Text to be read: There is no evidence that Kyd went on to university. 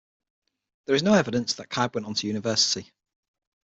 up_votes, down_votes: 6, 3